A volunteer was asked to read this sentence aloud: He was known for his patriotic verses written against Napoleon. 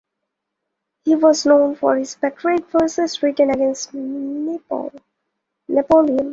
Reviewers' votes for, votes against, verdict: 1, 2, rejected